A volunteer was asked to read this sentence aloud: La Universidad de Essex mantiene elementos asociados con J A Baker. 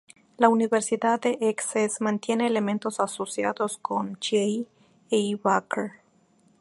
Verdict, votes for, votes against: rejected, 0, 2